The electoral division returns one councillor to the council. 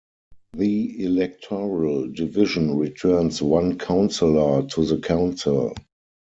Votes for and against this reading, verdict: 4, 0, accepted